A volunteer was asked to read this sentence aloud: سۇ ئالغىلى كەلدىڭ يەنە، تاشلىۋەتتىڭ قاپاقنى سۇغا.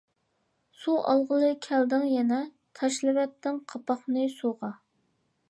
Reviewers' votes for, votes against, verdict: 2, 0, accepted